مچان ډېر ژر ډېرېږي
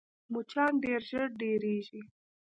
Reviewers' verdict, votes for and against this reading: rejected, 0, 3